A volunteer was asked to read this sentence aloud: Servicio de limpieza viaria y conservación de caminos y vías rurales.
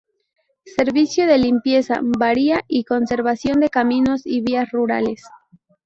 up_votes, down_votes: 0, 2